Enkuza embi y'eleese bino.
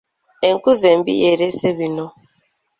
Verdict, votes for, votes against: accepted, 3, 0